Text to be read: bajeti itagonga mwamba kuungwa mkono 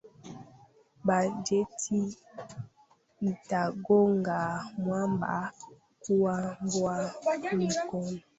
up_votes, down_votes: 1, 2